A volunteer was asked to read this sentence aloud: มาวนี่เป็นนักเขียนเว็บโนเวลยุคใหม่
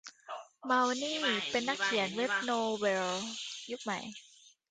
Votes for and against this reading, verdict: 1, 2, rejected